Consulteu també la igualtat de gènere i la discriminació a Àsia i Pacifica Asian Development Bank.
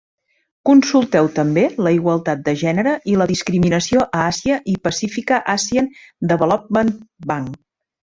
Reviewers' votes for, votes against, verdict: 2, 0, accepted